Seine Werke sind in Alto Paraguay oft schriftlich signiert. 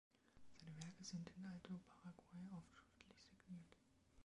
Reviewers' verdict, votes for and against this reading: rejected, 0, 2